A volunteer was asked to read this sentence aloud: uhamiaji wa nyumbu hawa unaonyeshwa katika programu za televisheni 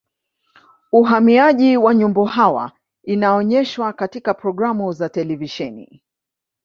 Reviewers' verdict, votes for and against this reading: accepted, 2, 0